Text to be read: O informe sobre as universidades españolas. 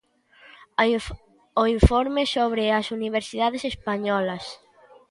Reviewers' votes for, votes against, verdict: 0, 2, rejected